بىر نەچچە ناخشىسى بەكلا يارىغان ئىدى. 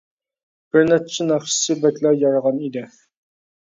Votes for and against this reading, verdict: 2, 0, accepted